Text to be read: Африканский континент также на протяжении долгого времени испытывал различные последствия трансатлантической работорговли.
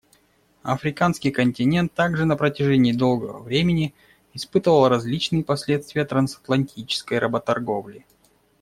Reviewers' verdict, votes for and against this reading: accepted, 2, 0